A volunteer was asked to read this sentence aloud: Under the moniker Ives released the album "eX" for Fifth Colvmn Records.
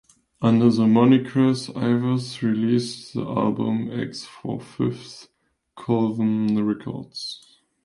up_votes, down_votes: 0, 2